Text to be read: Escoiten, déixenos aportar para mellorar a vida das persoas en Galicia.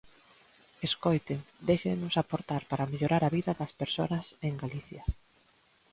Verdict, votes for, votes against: rejected, 1, 2